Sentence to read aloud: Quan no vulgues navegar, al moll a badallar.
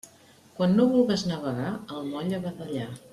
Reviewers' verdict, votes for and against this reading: accepted, 2, 0